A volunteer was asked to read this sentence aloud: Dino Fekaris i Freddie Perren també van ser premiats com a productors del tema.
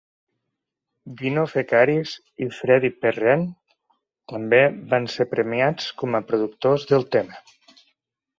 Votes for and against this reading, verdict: 2, 0, accepted